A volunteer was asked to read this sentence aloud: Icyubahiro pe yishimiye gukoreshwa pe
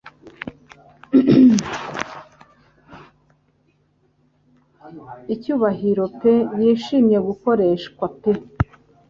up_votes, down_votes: 2, 0